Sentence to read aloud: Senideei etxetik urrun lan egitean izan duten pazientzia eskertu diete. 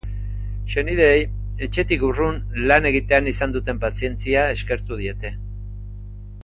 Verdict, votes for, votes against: accepted, 3, 0